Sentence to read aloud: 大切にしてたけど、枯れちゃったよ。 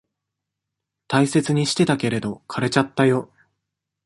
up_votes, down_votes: 1, 2